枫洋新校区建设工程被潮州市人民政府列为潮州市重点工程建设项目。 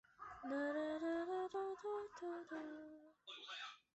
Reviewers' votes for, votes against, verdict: 1, 2, rejected